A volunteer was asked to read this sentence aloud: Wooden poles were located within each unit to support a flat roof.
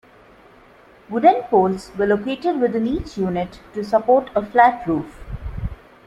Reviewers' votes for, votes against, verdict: 2, 0, accepted